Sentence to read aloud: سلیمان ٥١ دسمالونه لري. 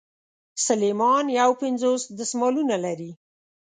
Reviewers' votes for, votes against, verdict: 0, 2, rejected